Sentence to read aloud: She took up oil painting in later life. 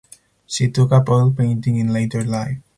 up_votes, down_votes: 4, 0